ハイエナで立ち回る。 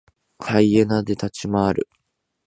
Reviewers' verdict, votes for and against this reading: accepted, 2, 0